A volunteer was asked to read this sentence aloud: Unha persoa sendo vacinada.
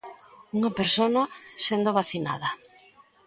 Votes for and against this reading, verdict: 0, 2, rejected